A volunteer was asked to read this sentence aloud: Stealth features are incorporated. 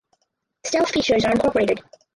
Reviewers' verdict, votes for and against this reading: rejected, 0, 4